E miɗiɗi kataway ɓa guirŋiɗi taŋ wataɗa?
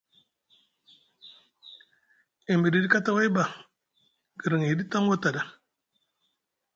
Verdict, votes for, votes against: accepted, 2, 0